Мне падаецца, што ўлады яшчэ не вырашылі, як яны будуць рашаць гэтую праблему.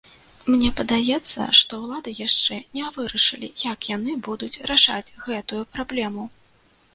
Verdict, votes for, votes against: accepted, 2, 0